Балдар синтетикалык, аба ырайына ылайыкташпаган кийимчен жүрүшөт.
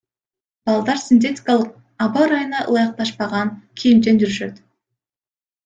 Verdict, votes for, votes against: rejected, 1, 2